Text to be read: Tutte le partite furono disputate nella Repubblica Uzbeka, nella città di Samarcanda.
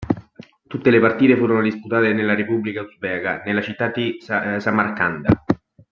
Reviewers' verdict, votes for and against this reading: rejected, 0, 2